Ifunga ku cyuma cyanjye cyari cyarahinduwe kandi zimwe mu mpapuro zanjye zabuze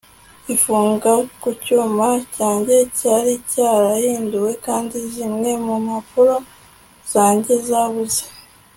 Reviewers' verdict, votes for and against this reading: accepted, 2, 0